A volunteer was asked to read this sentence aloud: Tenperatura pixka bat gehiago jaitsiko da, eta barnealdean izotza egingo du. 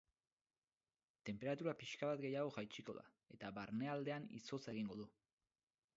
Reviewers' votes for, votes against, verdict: 4, 12, rejected